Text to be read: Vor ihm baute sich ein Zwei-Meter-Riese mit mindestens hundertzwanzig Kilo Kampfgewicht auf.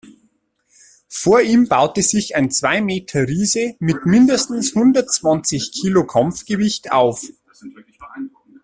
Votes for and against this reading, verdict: 2, 0, accepted